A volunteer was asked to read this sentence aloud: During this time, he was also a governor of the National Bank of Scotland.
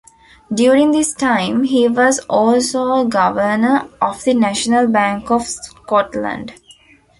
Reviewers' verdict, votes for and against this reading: accepted, 2, 1